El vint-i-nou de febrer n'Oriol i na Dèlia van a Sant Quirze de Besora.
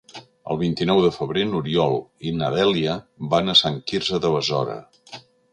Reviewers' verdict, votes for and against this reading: rejected, 1, 2